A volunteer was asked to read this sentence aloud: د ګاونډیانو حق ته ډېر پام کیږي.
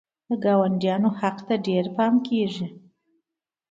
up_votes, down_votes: 2, 0